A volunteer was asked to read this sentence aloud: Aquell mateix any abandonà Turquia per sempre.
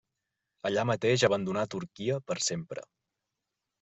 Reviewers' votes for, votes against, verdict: 1, 2, rejected